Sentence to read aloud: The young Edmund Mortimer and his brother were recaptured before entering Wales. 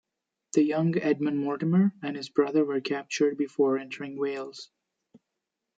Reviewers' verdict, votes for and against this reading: rejected, 0, 2